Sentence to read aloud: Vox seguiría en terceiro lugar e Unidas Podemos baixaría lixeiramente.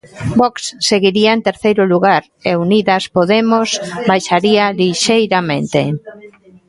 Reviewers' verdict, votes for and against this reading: rejected, 1, 2